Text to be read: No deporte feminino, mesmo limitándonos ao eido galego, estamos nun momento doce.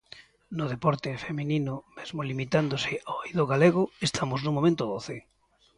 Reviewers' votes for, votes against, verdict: 1, 2, rejected